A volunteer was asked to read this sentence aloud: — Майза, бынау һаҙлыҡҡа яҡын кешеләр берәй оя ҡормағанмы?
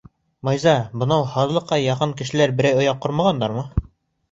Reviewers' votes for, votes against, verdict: 0, 2, rejected